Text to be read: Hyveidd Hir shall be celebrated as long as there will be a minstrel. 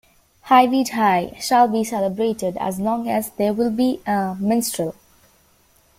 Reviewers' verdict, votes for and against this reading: accepted, 2, 0